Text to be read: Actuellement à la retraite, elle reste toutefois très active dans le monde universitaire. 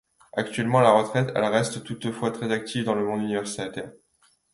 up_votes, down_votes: 1, 2